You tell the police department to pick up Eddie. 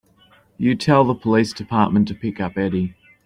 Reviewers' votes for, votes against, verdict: 2, 0, accepted